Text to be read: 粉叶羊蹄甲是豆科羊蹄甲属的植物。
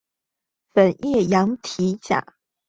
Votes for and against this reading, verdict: 2, 4, rejected